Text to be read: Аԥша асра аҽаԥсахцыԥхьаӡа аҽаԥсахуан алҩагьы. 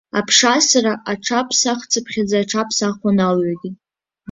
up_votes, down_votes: 2, 0